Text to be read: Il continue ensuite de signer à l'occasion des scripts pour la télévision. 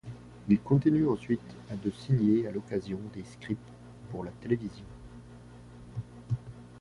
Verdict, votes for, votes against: accepted, 2, 0